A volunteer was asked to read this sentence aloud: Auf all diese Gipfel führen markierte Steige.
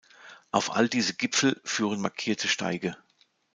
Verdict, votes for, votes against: accepted, 2, 0